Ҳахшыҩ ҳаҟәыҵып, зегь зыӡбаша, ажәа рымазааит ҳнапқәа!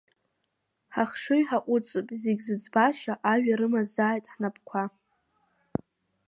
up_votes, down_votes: 0, 2